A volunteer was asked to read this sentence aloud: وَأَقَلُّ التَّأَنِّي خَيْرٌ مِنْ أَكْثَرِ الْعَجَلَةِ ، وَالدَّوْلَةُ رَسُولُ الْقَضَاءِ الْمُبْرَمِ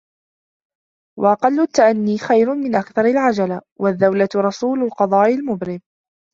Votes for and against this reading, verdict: 1, 3, rejected